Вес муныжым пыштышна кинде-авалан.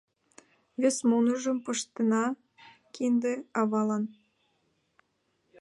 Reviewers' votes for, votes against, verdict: 1, 2, rejected